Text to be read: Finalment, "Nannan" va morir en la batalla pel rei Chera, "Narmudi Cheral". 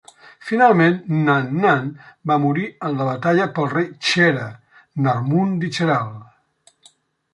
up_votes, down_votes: 0, 2